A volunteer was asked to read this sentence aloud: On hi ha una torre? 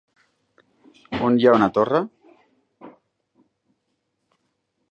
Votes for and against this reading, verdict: 3, 0, accepted